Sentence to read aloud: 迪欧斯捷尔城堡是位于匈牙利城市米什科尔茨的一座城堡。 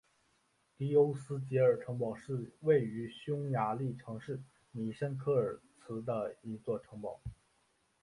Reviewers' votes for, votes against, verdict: 2, 1, accepted